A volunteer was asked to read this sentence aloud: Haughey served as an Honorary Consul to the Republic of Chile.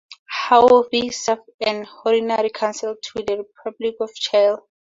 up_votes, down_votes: 4, 0